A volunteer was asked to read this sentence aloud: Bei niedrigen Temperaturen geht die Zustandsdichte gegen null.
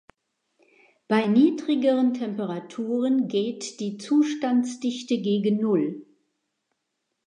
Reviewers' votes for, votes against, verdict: 1, 2, rejected